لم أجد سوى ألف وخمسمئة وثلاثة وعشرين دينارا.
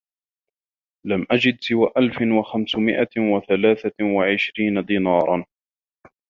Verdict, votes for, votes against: rejected, 1, 2